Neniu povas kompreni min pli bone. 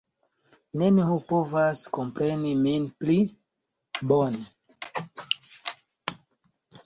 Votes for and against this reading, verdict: 0, 2, rejected